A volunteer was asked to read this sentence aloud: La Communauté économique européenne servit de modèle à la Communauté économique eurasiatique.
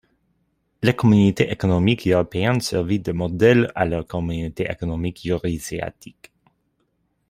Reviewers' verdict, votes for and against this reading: rejected, 0, 2